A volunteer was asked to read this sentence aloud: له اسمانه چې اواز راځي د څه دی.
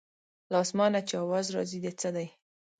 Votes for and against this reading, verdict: 2, 0, accepted